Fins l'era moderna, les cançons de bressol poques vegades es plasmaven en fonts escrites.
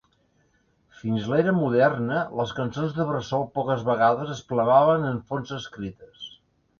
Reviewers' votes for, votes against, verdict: 0, 3, rejected